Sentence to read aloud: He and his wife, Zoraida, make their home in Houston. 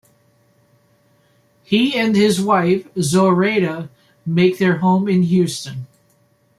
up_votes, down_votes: 2, 0